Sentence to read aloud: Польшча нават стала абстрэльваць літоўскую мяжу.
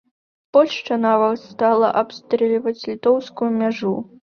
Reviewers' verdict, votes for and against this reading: accepted, 2, 0